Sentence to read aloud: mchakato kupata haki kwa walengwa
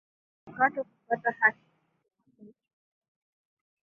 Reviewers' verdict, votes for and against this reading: rejected, 0, 2